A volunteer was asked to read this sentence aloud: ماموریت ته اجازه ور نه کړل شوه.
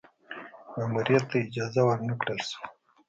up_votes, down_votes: 2, 0